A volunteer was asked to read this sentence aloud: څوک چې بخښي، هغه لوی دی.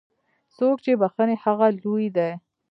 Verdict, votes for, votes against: accepted, 2, 0